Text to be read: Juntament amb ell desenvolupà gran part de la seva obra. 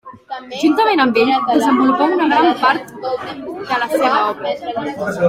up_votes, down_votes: 0, 2